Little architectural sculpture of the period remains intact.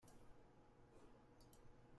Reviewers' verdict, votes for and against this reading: rejected, 0, 2